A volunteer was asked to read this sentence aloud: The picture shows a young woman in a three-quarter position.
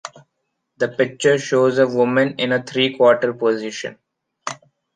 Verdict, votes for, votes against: rejected, 0, 2